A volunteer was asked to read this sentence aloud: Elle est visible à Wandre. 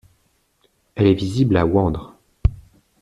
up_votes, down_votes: 2, 1